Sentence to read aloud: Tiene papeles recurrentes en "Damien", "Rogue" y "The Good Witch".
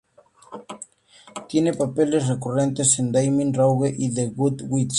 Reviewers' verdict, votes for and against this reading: accepted, 2, 0